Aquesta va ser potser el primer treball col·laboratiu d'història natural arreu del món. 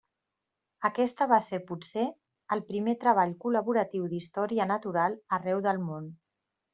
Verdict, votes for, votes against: accepted, 3, 0